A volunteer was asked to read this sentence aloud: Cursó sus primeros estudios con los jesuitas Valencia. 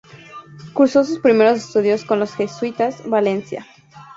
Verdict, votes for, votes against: accepted, 4, 0